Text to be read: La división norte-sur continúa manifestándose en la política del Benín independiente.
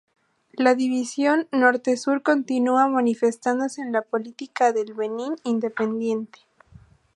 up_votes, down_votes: 2, 0